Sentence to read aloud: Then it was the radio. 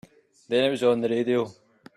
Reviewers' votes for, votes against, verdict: 2, 3, rejected